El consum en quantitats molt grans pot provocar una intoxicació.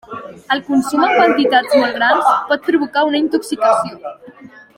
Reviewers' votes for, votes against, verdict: 0, 2, rejected